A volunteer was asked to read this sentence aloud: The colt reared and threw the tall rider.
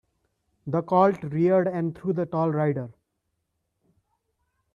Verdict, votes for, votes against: accepted, 2, 0